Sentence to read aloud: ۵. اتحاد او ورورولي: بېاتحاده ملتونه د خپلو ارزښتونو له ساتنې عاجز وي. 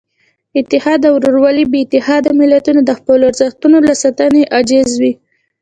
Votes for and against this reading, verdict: 0, 2, rejected